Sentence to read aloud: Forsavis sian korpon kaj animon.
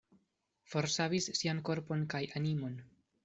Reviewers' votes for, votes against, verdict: 2, 1, accepted